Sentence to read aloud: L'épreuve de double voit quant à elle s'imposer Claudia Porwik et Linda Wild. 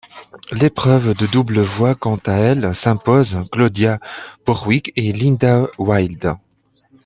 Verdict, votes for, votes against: rejected, 0, 2